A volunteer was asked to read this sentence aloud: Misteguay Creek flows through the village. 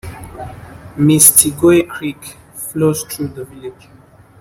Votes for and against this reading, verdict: 1, 2, rejected